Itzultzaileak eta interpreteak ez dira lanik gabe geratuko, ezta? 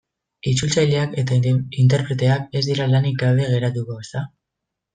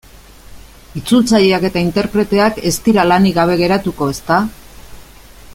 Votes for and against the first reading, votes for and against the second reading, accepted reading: 1, 2, 2, 0, second